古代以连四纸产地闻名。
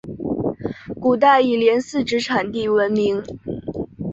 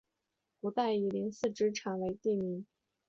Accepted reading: first